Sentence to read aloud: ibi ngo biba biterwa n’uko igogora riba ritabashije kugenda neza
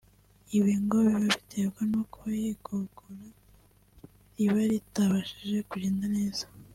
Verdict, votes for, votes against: accepted, 2, 0